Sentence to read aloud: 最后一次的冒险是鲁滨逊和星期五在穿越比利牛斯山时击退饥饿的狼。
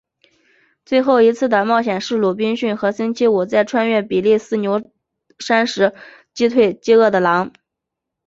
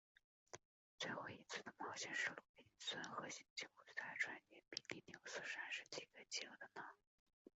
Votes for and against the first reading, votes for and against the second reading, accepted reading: 2, 0, 0, 2, first